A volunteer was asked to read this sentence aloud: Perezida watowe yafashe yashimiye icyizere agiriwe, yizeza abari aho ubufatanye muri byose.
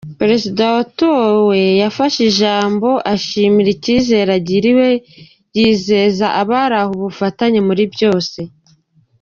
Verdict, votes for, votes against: rejected, 1, 2